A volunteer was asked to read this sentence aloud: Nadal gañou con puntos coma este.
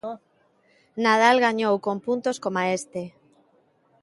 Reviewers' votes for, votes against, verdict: 1, 2, rejected